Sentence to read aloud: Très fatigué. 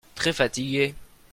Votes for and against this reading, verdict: 2, 0, accepted